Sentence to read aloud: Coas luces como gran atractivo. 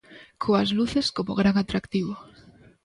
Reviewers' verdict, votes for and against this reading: accepted, 2, 0